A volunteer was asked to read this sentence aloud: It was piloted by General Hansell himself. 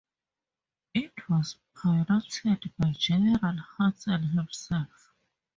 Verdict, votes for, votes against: rejected, 0, 4